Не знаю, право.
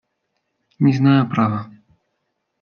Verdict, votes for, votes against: accepted, 2, 0